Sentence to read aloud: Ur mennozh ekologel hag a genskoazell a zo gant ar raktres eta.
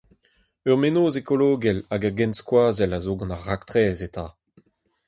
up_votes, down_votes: 4, 2